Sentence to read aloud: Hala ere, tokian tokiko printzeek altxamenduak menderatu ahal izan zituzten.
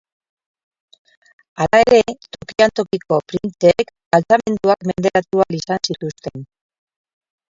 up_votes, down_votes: 2, 8